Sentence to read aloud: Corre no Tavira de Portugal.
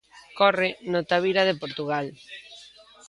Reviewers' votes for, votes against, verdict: 2, 0, accepted